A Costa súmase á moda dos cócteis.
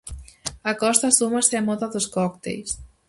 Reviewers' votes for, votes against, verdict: 4, 0, accepted